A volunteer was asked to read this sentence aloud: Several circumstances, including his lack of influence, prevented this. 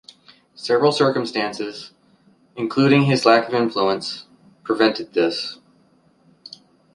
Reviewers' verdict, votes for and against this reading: accepted, 3, 0